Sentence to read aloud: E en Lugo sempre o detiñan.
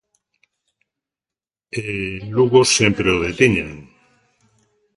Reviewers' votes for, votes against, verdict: 2, 0, accepted